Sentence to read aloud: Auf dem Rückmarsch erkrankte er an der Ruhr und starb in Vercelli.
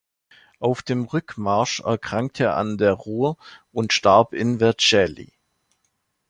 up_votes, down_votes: 2, 0